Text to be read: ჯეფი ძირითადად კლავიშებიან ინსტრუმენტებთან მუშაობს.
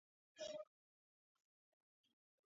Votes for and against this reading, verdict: 0, 2, rejected